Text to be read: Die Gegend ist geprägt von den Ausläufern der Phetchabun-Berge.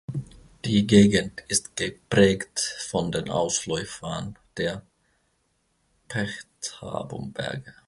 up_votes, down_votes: 0, 2